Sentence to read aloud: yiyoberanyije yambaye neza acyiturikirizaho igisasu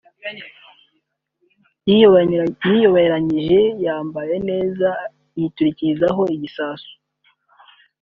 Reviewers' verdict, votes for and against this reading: rejected, 1, 2